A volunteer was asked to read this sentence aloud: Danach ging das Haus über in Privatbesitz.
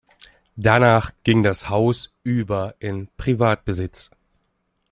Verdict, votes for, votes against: accepted, 2, 0